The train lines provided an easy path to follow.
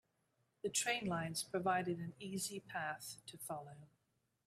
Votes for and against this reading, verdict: 2, 0, accepted